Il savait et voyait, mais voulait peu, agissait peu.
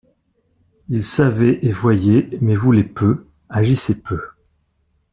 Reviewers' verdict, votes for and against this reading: accepted, 2, 0